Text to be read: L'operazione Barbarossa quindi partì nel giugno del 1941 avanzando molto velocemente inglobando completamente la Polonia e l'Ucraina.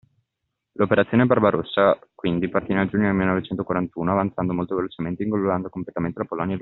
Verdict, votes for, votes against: rejected, 0, 2